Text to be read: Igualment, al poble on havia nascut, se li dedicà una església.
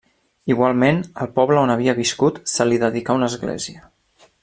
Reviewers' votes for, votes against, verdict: 1, 2, rejected